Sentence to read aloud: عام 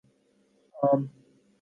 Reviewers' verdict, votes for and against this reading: accepted, 14, 3